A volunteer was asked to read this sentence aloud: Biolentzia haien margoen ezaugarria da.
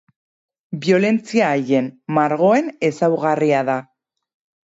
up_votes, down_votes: 0, 2